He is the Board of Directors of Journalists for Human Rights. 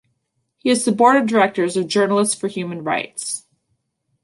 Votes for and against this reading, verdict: 2, 0, accepted